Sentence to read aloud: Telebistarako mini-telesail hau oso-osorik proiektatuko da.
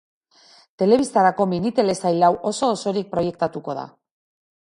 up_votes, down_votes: 2, 0